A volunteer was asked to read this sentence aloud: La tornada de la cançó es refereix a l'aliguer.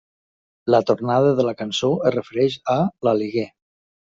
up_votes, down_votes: 2, 0